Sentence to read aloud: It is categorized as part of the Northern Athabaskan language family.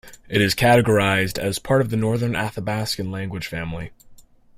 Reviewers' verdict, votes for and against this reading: accepted, 2, 0